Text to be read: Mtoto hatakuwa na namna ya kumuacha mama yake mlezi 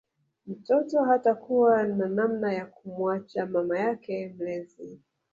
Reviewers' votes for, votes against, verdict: 1, 2, rejected